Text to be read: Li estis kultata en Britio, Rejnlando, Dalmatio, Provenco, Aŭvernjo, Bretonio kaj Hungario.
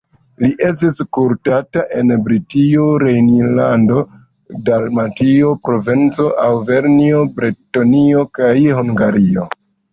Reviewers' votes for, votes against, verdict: 0, 2, rejected